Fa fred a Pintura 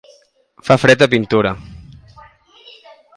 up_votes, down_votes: 2, 0